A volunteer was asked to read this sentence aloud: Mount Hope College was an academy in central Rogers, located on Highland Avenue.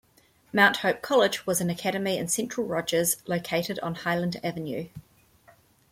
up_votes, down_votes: 1, 2